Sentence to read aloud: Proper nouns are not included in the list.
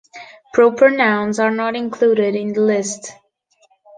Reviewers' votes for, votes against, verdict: 2, 0, accepted